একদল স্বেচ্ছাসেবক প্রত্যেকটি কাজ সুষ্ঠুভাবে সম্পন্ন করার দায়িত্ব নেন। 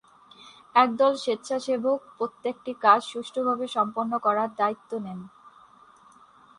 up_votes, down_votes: 10, 2